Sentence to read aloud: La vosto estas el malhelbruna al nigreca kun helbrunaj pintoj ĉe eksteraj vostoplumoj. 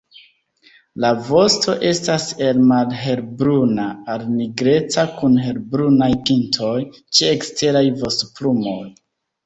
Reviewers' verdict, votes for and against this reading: rejected, 1, 2